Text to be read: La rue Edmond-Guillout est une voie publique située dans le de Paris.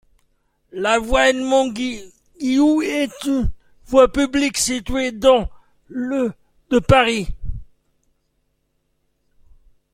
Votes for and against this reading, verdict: 0, 2, rejected